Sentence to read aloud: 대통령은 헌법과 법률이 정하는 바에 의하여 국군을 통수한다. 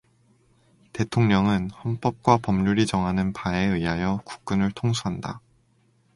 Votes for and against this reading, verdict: 2, 0, accepted